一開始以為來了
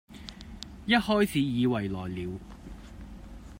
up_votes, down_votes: 1, 2